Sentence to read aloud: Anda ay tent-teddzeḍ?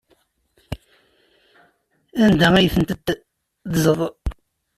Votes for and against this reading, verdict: 0, 2, rejected